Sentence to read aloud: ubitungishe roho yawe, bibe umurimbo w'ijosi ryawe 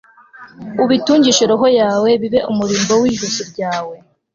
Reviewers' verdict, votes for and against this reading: accepted, 2, 0